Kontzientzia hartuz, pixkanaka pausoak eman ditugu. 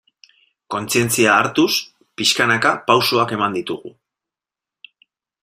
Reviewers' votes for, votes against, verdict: 2, 0, accepted